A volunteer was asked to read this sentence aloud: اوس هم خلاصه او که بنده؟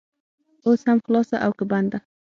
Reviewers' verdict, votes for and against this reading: accepted, 6, 0